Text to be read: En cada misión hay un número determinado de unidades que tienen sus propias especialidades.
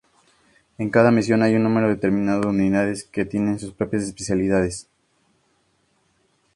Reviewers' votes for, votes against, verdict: 4, 0, accepted